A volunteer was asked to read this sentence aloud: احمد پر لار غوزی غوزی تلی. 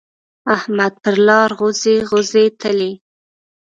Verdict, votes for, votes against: rejected, 1, 2